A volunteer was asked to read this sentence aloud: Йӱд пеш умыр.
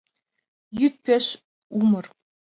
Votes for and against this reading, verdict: 3, 0, accepted